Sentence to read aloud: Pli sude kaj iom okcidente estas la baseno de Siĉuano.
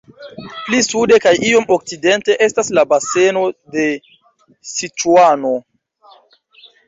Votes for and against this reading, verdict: 2, 0, accepted